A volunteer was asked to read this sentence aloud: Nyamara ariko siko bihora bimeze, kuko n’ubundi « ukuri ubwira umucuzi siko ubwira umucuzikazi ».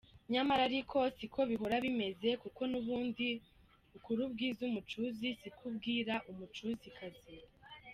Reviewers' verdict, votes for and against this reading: rejected, 1, 2